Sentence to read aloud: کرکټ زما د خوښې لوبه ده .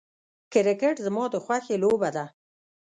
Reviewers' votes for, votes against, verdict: 2, 0, accepted